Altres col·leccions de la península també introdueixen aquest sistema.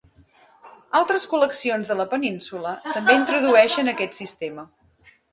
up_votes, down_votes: 2, 1